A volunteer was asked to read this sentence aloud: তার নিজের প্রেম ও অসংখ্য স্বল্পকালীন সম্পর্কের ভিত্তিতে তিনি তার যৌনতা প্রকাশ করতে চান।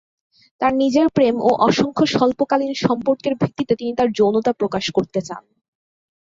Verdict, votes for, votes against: accepted, 2, 0